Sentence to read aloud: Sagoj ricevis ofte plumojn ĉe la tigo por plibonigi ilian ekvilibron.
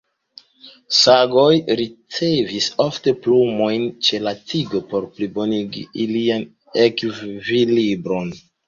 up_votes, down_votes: 2, 0